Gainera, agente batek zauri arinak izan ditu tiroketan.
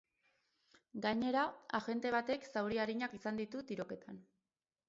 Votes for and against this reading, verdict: 4, 0, accepted